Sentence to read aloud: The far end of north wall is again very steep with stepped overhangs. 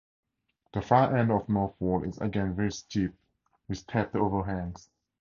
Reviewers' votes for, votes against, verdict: 2, 0, accepted